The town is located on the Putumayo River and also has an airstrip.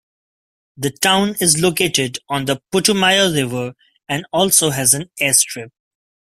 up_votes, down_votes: 2, 0